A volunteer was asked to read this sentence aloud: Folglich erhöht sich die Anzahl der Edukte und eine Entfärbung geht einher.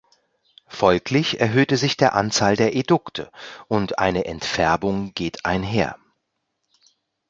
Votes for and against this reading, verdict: 0, 2, rejected